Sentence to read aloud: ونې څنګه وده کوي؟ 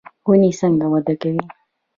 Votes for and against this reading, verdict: 2, 0, accepted